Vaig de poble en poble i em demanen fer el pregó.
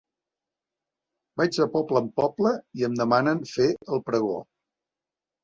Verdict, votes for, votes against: accepted, 2, 1